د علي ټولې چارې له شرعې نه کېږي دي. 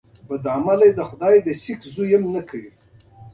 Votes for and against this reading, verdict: 2, 0, accepted